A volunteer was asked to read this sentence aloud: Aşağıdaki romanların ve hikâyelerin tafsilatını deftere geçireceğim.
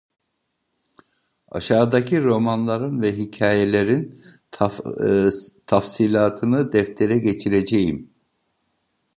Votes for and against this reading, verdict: 0, 2, rejected